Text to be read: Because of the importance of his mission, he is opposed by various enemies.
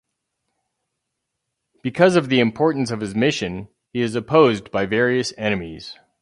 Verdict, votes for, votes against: accepted, 4, 0